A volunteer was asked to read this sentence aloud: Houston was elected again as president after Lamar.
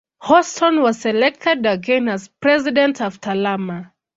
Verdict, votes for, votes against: rejected, 0, 2